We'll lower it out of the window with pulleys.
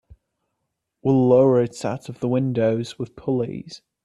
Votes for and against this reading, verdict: 2, 0, accepted